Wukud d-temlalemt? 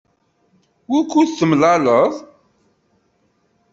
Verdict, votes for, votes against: rejected, 1, 2